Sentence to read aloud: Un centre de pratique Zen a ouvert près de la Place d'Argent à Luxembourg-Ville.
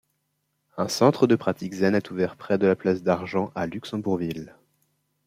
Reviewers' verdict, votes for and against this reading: rejected, 0, 2